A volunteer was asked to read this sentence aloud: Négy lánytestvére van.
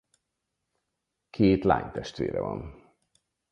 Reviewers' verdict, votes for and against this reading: rejected, 0, 4